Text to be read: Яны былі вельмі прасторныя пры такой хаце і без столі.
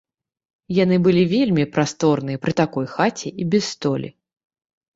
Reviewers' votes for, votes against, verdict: 1, 2, rejected